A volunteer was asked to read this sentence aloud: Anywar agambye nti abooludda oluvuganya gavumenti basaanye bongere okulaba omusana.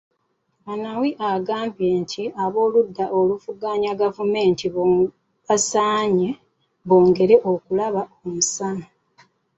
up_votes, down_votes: 1, 2